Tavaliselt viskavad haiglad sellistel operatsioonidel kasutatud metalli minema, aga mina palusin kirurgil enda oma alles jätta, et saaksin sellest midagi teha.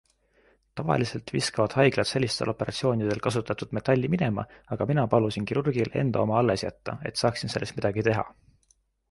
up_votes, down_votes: 2, 0